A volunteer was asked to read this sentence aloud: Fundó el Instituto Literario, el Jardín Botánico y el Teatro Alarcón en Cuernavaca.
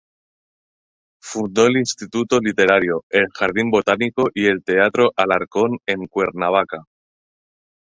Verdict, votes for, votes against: accepted, 2, 0